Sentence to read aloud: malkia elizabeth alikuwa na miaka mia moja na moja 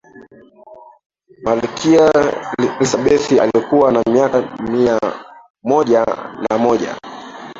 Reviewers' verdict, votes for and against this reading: rejected, 0, 2